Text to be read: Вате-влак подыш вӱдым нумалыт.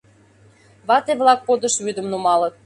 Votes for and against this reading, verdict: 2, 0, accepted